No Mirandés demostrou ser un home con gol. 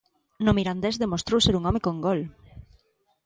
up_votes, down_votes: 2, 0